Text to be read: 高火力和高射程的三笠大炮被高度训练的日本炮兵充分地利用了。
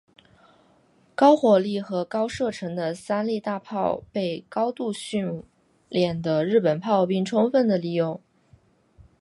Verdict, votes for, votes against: accepted, 4, 2